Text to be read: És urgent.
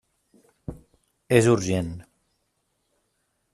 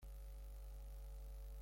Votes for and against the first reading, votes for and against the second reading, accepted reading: 3, 0, 0, 2, first